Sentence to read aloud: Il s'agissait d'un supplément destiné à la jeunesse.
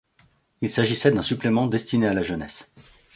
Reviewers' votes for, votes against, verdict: 2, 0, accepted